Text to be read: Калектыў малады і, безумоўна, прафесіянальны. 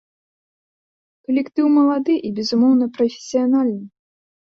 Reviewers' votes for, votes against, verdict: 2, 0, accepted